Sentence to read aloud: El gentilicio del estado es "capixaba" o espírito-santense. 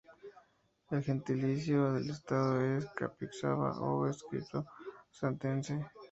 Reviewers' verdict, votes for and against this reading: accepted, 2, 0